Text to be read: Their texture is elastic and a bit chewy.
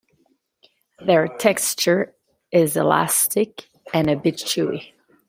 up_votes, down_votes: 1, 2